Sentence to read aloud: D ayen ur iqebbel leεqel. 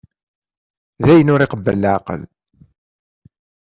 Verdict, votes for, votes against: accepted, 2, 0